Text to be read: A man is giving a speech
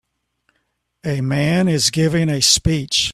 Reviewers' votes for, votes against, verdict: 2, 0, accepted